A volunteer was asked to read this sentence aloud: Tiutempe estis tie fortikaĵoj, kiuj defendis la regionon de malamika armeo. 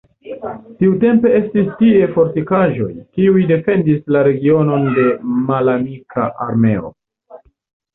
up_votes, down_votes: 2, 0